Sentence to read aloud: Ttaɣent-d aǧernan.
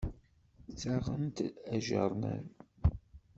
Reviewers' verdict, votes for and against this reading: accepted, 2, 1